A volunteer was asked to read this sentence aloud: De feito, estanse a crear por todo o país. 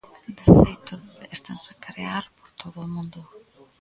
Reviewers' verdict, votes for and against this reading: rejected, 0, 2